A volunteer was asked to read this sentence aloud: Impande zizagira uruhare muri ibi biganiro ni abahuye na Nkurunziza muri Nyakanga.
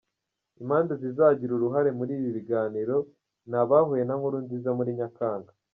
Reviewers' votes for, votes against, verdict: 1, 2, rejected